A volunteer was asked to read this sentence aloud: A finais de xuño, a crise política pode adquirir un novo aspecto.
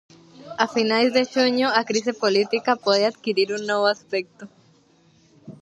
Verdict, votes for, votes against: rejected, 0, 2